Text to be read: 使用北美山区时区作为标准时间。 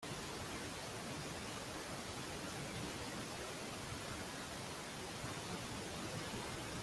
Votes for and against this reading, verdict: 0, 2, rejected